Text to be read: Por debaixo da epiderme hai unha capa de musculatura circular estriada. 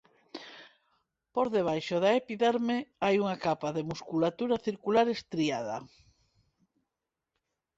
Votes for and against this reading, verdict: 2, 0, accepted